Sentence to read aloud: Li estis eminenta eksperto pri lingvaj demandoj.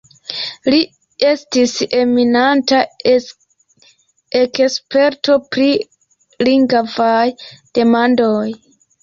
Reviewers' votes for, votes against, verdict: 2, 0, accepted